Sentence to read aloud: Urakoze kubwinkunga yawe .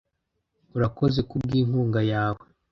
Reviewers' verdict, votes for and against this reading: rejected, 1, 2